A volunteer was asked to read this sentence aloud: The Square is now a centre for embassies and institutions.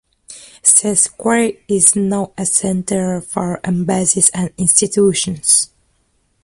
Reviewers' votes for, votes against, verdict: 0, 2, rejected